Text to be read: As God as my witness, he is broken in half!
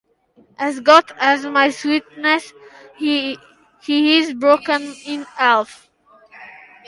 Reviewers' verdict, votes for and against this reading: rejected, 0, 2